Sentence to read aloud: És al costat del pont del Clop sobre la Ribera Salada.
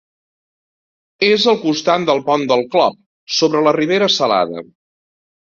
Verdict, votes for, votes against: rejected, 1, 2